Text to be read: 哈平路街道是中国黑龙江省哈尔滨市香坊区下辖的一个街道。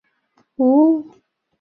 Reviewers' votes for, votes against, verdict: 0, 3, rejected